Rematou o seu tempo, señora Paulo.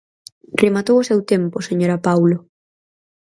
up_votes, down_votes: 6, 0